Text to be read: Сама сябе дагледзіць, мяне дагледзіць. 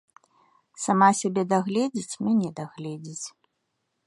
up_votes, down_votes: 2, 0